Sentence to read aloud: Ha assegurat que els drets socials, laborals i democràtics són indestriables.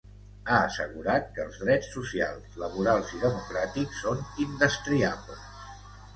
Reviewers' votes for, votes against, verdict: 2, 0, accepted